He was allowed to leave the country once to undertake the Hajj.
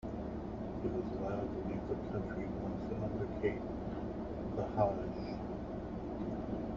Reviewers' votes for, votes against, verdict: 0, 2, rejected